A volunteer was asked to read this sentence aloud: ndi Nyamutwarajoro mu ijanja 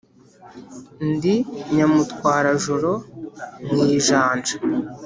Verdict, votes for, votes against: accepted, 3, 0